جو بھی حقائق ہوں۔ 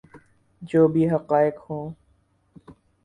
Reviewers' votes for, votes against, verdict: 4, 0, accepted